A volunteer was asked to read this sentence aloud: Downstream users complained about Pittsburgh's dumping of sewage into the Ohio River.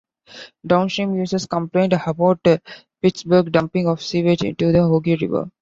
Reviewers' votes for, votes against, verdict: 0, 2, rejected